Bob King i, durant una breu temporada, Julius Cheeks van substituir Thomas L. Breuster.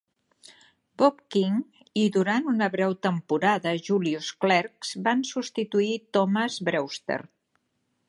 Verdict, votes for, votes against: rejected, 1, 2